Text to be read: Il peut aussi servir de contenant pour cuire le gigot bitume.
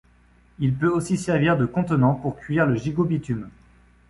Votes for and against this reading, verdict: 2, 0, accepted